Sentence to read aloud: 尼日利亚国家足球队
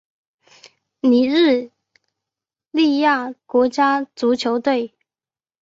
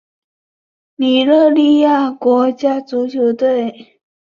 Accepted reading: first